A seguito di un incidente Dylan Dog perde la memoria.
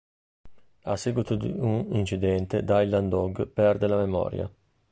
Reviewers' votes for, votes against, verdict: 1, 2, rejected